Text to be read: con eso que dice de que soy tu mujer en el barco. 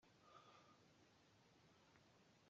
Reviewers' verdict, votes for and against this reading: rejected, 0, 2